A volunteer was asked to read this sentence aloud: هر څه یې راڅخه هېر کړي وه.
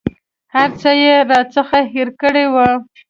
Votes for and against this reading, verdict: 2, 0, accepted